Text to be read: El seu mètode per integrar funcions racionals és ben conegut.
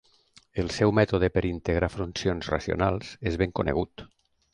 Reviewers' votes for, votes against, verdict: 2, 1, accepted